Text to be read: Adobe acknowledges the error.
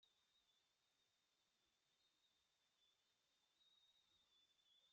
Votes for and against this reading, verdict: 0, 2, rejected